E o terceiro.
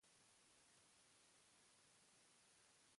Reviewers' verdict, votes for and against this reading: rejected, 0, 2